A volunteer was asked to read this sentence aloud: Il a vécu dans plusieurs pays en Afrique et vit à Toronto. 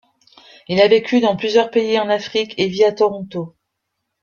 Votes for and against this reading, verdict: 2, 0, accepted